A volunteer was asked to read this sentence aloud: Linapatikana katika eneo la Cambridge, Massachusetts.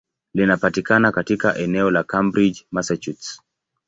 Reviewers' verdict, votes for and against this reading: accepted, 2, 0